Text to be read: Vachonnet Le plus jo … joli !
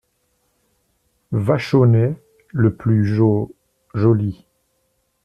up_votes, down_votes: 2, 0